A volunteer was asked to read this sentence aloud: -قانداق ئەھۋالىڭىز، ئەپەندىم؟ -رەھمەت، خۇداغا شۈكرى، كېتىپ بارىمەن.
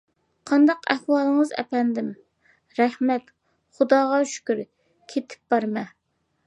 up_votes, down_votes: 2, 1